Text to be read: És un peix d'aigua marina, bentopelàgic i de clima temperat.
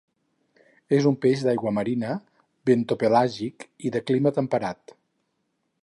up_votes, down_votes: 4, 0